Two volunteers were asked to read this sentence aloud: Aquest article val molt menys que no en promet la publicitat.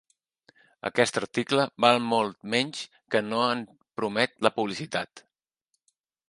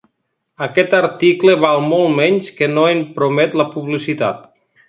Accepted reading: second